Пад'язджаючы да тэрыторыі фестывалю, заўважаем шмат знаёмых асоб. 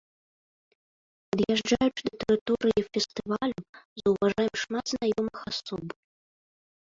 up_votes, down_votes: 0, 2